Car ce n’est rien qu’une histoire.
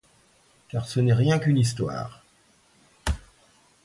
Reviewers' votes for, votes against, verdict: 2, 0, accepted